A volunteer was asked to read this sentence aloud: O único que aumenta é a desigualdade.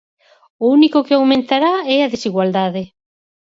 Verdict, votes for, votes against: rejected, 2, 4